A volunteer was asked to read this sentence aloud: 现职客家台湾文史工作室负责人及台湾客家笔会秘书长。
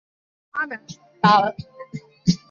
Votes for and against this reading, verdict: 0, 2, rejected